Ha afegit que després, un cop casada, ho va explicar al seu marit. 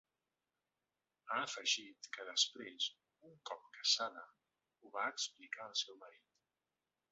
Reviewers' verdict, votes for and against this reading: rejected, 1, 2